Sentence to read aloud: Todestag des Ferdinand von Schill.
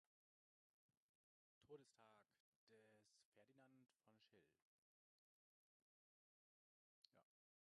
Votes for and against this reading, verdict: 0, 2, rejected